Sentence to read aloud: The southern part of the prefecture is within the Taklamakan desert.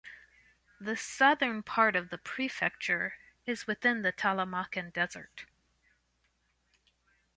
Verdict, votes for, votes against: rejected, 1, 2